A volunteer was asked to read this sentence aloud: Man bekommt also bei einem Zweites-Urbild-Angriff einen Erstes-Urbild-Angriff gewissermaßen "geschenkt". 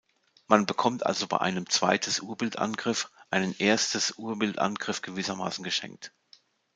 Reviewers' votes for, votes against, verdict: 2, 0, accepted